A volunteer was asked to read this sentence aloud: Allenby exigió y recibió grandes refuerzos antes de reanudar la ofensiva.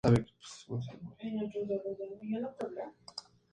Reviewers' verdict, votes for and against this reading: rejected, 0, 4